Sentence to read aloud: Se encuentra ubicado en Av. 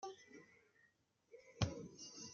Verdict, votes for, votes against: rejected, 0, 2